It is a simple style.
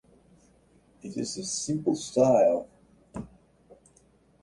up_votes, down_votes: 2, 0